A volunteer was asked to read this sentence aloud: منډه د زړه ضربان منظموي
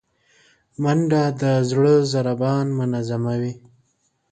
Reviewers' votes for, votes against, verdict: 3, 0, accepted